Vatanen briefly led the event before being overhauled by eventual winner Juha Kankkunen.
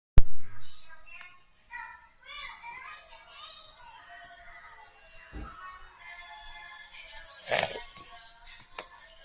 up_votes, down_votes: 0, 2